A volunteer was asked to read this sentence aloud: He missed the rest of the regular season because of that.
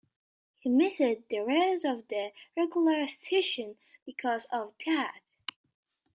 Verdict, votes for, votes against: rejected, 0, 2